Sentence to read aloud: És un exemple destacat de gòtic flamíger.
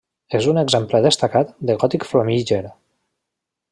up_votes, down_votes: 1, 2